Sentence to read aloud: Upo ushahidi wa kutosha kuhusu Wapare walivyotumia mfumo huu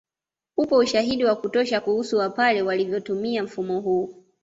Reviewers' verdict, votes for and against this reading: accepted, 2, 0